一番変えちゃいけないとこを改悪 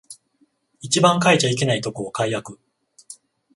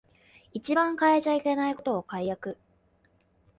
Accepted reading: first